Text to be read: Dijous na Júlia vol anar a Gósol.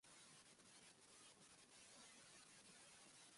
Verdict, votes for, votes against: rejected, 0, 2